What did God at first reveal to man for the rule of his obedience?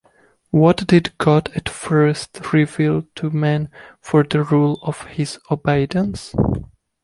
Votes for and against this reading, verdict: 1, 2, rejected